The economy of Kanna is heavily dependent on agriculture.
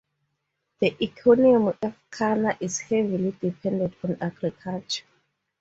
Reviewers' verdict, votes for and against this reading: rejected, 0, 2